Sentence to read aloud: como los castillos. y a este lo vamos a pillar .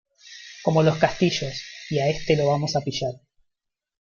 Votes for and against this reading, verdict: 0, 2, rejected